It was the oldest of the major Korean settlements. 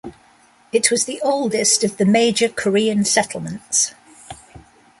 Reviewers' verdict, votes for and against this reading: rejected, 1, 2